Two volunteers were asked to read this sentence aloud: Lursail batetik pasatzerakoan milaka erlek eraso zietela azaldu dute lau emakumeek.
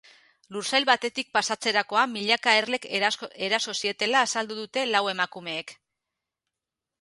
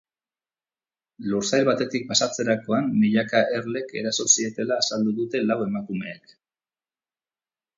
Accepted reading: second